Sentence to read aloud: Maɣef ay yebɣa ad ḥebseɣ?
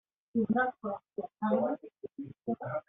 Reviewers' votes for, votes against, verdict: 0, 2, rejected